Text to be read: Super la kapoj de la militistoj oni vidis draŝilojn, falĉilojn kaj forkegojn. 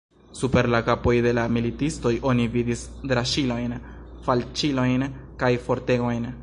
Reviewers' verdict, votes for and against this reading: rejected, 0, 2